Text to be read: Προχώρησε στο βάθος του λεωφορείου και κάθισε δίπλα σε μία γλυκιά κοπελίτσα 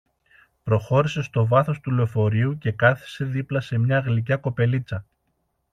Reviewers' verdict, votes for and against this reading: accepted, 2, 0